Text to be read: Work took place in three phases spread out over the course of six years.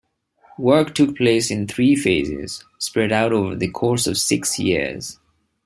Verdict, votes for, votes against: accepted, 3, 0